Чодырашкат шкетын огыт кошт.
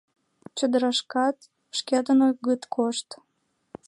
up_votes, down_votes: 2, 0